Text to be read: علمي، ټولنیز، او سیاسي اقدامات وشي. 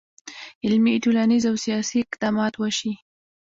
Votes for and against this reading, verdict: 2, 0, accepted